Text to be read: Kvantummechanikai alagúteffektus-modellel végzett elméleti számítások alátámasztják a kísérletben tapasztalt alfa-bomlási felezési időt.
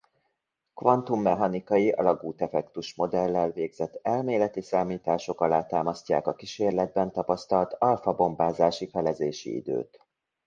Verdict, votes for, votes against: rejected, 0, 2